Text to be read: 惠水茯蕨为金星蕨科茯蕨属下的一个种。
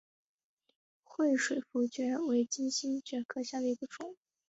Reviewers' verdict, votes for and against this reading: accepted, 4, 2